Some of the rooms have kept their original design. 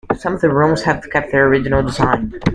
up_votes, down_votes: 2, 0